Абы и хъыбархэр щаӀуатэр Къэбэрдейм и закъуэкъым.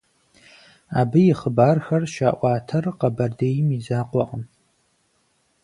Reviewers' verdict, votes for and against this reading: accepted, 4, 0